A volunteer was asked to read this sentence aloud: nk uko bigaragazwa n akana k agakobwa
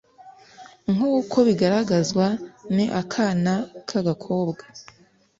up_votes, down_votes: 2, 0